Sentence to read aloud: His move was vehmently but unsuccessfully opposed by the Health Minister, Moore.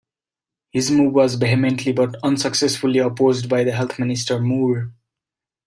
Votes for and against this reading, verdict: 2, 0, accepted